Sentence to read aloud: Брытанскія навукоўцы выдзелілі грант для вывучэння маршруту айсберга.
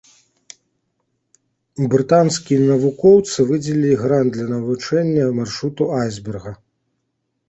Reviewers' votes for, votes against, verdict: 0, 2, rejected